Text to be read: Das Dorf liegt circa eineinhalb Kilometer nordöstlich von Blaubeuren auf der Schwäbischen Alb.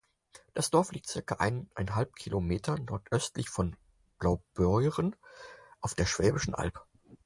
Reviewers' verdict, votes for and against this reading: accepted, 4, 0